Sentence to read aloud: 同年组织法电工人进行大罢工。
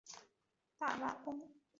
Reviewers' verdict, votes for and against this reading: rejected, 1, 3